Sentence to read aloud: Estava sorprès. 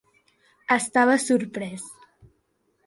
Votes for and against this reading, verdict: 2, 0, accepted